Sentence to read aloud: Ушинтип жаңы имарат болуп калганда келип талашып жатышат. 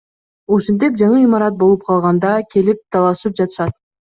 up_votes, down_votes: 2, 0